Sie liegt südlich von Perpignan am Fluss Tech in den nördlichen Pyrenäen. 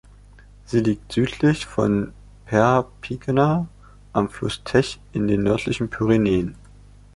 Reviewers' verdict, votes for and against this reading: rejected, 0, 2